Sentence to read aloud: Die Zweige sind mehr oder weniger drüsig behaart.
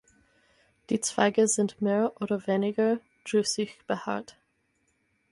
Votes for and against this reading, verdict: 6, 0, accepted